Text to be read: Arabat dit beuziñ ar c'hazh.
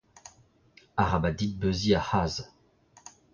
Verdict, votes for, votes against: rejected, 1, 2